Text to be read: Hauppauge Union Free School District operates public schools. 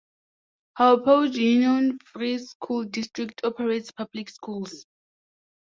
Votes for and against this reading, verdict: 0, 2, rejected